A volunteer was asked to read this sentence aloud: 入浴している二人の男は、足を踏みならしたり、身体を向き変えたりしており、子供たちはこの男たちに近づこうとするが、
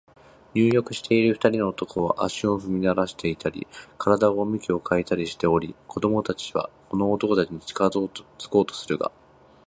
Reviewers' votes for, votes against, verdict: 1, 2, rejected